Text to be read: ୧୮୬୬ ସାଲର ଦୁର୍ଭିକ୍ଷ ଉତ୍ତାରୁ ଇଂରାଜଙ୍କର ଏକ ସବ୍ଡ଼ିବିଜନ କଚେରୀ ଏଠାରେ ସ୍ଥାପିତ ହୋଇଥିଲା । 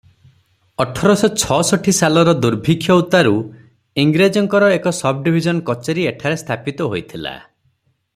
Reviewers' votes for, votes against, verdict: 0, 2, rejected